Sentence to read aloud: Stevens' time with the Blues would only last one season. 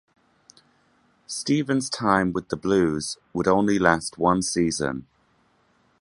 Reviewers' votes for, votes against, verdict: 2, 0, accepted